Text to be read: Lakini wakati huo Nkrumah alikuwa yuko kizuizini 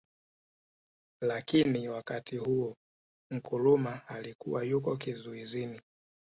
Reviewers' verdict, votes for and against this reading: accepted, 2, 1